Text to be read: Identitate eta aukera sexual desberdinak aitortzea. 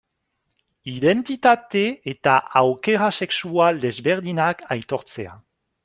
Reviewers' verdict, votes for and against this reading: accepted, 2, 0